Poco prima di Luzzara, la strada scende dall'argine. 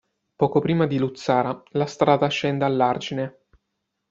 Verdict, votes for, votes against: rejected, 1, 2